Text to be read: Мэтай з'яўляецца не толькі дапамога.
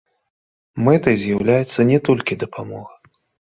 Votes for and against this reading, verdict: 0, 2, rejected